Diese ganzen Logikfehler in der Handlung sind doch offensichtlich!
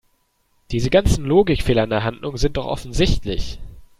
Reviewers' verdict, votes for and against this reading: accepted, 2, 0